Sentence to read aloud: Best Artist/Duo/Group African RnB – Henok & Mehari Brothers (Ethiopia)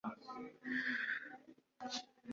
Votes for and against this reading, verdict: 0, 2, rejected